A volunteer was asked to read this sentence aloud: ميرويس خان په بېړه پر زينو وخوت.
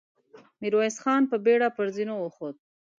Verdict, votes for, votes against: accepted, 2, 0